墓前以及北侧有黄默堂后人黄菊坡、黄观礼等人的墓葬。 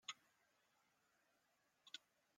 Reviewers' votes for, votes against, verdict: 0, 2, rejected